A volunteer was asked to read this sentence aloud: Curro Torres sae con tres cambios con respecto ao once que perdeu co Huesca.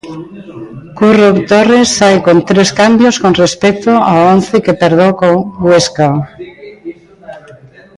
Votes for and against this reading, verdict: 0, 2, rejected